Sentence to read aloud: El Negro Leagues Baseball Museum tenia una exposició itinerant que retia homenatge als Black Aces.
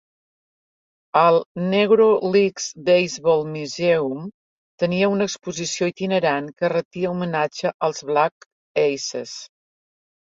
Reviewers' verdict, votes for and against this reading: accepted, 4, 0